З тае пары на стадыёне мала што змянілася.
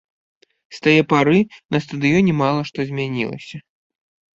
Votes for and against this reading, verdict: 2, 0, accepted